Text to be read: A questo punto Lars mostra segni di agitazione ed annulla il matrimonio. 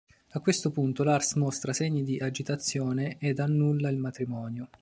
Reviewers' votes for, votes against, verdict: 2, 0, accepted